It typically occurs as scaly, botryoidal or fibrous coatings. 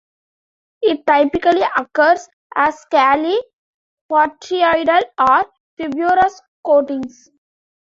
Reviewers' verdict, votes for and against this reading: rejected, 1, 2